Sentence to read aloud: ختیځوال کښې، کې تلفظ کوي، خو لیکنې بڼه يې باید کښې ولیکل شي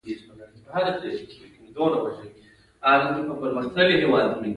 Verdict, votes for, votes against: accepted, 2, 1